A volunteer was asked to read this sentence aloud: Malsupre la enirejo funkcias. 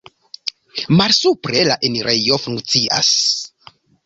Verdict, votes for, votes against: accepted, 2, 0